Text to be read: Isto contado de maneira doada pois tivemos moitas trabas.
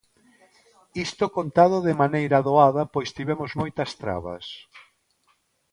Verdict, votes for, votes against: accepted, 2, 0